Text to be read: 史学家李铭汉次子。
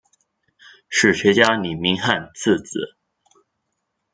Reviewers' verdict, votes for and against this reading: accepted, 2, 0